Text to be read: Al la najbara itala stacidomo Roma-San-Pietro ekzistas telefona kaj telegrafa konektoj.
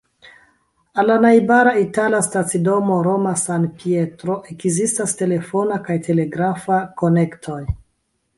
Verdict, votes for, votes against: rejected, 0, 2